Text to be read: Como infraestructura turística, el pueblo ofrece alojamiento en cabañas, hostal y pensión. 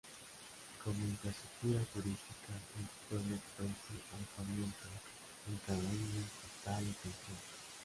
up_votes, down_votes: 0, 2